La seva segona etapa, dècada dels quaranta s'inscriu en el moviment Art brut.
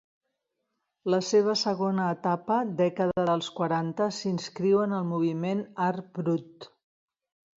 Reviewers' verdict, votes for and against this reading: accepted, 2, 0